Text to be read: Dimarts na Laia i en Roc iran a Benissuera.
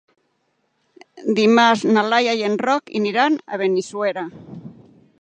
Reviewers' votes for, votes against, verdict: 0, 3, rejected